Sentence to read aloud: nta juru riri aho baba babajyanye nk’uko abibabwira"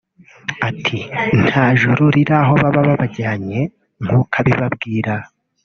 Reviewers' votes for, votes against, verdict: 0, 2, rejected